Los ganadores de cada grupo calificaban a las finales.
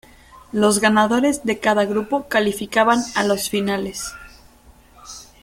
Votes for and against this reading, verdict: 1, 2, rejected